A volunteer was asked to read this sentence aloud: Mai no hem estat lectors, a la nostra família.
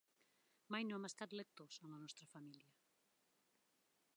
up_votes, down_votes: 2, 0